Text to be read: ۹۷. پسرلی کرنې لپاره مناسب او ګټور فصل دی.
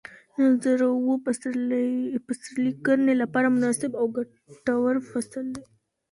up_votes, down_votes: 0, 2